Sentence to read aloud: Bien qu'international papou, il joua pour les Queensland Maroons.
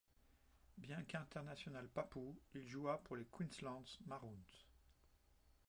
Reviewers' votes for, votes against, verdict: 1, 2, rejected